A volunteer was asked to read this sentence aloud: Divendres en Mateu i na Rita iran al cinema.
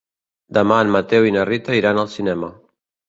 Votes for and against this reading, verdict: 0, 2, rejected